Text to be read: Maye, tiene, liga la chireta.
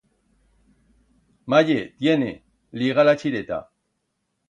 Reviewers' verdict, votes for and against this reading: accepted, 2, 0